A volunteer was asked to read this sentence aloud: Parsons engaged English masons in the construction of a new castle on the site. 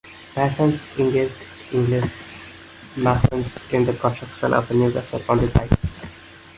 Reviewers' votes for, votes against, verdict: 0, 2, rejected